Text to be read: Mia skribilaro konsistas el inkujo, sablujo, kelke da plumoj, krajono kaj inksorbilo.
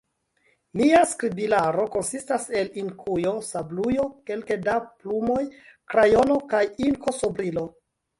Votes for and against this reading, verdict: 0, 2, rejected